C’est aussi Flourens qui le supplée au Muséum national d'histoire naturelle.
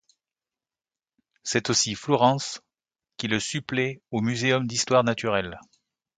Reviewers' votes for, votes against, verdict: 1, 2, rejected